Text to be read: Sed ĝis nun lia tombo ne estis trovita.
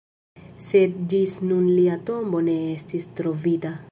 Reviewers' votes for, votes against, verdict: 1, 2, rejected